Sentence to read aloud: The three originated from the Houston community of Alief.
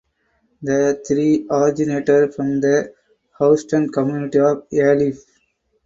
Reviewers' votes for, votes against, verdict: 0, 2, rejected